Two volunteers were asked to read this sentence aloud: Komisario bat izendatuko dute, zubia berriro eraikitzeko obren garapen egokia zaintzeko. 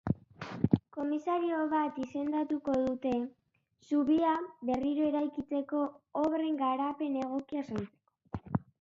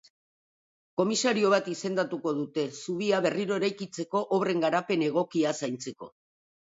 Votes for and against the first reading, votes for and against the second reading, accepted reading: 0, 2, 2, 0, second